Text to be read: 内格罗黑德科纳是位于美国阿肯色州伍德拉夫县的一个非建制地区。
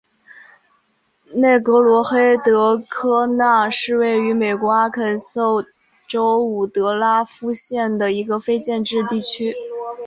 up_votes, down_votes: 2, 0